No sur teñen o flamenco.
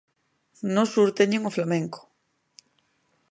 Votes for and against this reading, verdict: 2, 0, accepted